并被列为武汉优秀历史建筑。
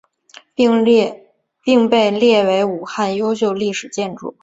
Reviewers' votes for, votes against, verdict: 5, 0, accepted